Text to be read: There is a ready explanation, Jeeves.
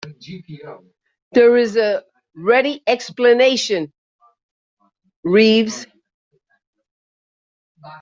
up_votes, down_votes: 0, 2